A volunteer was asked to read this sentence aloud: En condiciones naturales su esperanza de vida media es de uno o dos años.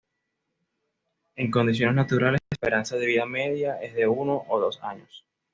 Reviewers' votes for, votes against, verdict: 1, 2, rejected